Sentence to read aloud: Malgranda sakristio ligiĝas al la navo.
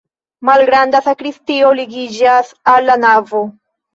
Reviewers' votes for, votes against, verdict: 2, 1, accepted